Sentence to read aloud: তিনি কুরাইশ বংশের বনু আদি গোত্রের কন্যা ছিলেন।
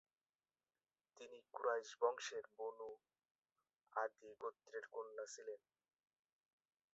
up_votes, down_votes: 0, 4